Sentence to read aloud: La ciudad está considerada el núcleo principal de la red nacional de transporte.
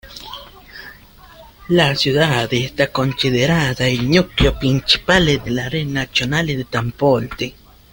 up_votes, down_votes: 0, 2